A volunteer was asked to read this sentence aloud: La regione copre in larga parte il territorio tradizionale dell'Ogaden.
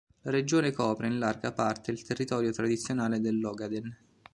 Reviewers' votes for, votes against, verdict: 0, 2, rejected